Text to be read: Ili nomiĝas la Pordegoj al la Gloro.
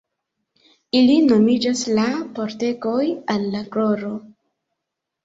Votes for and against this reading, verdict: 1, 2, rejected